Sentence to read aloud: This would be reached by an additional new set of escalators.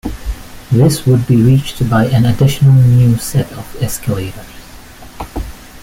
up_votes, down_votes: 1, 2